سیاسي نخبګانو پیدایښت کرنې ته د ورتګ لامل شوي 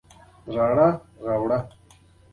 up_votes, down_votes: 1, 2